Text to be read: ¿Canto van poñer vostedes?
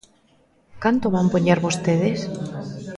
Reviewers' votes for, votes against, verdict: 0, 2, rejected